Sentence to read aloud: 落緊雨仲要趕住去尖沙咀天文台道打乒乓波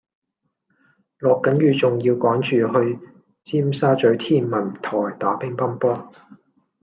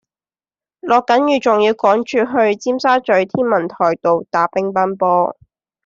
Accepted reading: second